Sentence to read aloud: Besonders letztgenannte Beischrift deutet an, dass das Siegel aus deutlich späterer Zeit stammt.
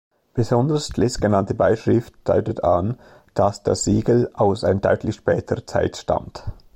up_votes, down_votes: 1, 2